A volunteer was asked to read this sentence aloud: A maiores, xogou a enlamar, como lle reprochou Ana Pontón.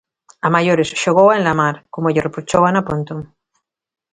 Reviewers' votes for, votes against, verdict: 2, 0, accepted